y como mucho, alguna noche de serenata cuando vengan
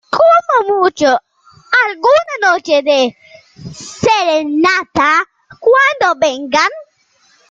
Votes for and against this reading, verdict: 0, 2, rejected